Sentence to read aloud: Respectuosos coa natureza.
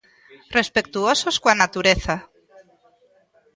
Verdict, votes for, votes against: rejected, 1, 2